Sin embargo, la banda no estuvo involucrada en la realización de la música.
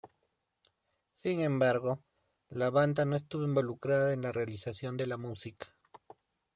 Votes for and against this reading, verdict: 2, 0, accepted